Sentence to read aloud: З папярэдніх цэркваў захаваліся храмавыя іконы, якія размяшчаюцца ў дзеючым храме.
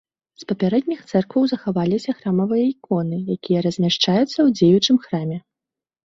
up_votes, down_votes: 2, 0